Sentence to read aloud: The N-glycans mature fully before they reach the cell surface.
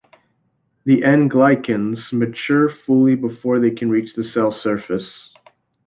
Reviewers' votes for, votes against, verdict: 2, 1, accepted